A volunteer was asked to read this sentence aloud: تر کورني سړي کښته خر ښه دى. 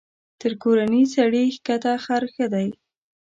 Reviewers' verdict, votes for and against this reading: rejected, 1, 2